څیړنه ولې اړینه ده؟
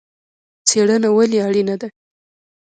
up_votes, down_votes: 1, 2